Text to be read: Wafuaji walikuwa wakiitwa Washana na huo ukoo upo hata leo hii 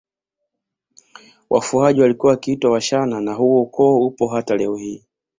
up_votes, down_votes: 3, 0